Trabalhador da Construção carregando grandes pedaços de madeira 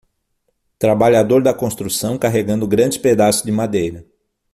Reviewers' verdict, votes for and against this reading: accepted, 6, 0